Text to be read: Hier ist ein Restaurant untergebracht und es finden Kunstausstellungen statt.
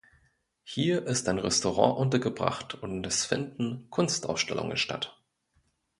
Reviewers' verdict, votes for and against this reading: accepted, 2, 0